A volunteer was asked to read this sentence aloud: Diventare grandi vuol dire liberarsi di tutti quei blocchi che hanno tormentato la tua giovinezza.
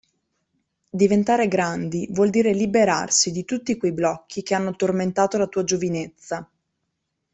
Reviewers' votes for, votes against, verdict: 2, 0, accepted